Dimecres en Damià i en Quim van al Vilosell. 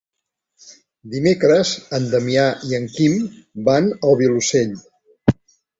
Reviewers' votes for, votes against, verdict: 2, 0, accepted